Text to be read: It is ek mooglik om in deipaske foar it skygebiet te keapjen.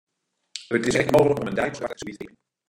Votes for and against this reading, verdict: 0, 2, rejected